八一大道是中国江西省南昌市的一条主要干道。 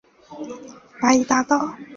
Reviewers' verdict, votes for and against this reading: rejected, 0, 2